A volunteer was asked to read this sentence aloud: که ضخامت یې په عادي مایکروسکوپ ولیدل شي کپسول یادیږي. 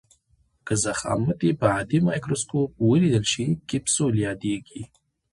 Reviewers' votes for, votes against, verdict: 2, 1, accepted